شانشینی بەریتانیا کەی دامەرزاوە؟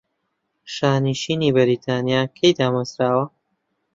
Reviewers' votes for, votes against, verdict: 2, 0, accepted